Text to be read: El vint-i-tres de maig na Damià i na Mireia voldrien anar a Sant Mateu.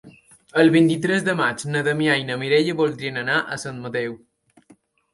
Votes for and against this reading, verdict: 3, 0, accepted